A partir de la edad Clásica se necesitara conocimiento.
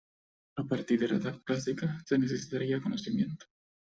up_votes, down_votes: 0, 2